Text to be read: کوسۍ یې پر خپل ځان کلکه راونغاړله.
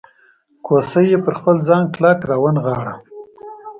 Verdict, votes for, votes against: accepted, 2, 0